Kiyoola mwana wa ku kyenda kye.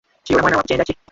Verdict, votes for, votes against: rejected, 0, 2